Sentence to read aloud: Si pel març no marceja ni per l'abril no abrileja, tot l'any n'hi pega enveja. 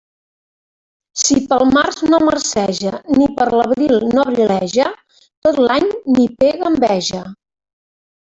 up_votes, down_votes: 1, 2